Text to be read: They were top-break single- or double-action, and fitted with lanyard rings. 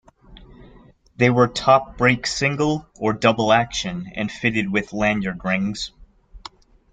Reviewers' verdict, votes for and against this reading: accepted, 2, 0